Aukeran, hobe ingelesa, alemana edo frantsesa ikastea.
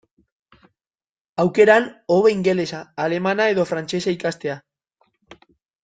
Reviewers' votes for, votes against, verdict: 2, 0, accepted